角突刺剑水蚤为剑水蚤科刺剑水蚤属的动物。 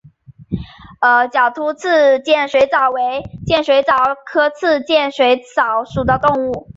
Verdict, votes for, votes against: accepted, 2, 0